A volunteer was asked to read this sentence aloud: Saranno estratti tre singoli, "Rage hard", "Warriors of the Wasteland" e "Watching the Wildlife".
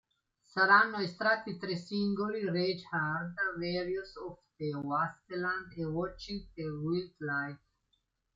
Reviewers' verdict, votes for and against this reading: rejected, 1, 2